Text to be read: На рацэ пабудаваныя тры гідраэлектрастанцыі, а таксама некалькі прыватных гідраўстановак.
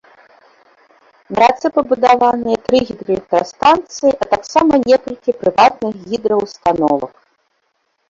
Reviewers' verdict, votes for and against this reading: rejected, 1, 2